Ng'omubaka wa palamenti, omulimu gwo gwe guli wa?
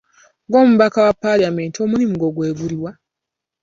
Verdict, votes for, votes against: accepted, 3, 1